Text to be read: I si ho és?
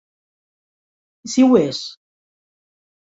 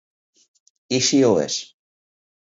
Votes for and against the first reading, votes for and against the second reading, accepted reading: 1, 2, 4, 2, second